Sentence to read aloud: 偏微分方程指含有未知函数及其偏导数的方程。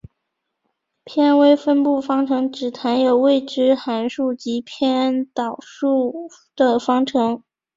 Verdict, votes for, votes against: rejected, 1, 2